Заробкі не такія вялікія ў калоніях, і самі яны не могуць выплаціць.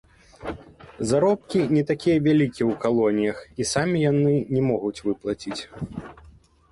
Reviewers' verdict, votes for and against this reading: accepted, 2, 0